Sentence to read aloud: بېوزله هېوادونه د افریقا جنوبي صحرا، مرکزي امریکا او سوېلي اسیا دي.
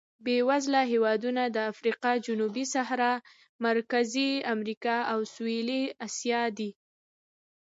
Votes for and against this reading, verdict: 2, 0, accepted